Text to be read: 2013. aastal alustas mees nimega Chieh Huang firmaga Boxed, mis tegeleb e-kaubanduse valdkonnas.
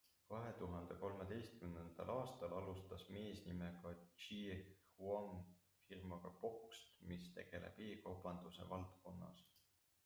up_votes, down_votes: 0, 2